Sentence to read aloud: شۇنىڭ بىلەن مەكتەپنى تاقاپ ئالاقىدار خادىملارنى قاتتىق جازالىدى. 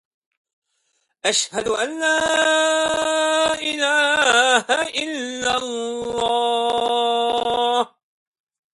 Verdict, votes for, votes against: rejected, 0, 2